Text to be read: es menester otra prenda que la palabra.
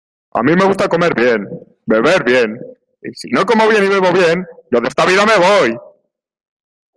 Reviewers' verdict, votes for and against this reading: rejected, 0, 2